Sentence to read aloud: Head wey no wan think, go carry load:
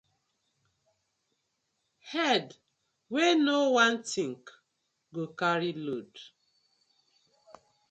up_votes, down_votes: 2, 0